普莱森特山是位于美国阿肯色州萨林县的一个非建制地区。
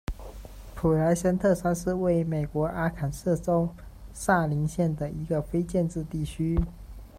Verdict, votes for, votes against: accepted, 2, 0